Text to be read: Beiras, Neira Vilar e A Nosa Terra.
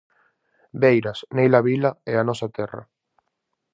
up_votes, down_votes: 0, 4